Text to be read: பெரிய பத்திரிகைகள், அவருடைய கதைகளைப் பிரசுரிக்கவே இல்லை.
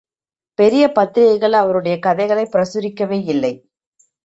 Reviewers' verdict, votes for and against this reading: accepted, 2, 0